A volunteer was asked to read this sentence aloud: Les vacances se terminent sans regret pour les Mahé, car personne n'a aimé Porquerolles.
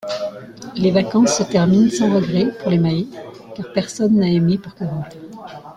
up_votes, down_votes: 2, 0